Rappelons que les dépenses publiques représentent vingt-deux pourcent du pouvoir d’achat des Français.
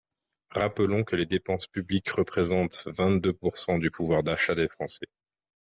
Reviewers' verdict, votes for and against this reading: accepted, 2, 0